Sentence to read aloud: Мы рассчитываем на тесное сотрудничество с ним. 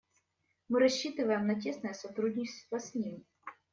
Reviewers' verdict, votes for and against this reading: rejected, 1, 2